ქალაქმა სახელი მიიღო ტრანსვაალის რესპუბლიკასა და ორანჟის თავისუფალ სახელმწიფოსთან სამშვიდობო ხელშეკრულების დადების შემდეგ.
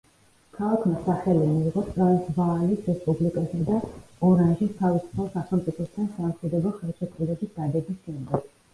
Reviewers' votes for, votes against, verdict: 0, 2, rejected